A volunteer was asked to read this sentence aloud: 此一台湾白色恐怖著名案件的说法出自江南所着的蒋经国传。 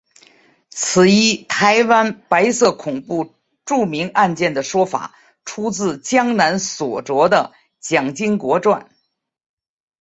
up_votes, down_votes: 2, 1